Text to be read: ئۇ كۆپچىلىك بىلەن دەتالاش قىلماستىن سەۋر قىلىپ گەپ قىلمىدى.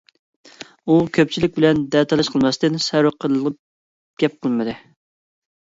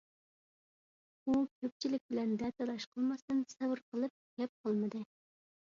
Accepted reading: second